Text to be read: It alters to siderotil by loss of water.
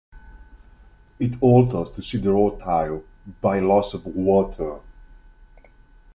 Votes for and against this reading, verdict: 1, 2, rejected